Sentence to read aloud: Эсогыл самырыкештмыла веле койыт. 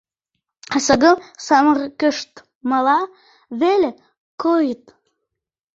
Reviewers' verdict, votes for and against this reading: rejected, 1, 2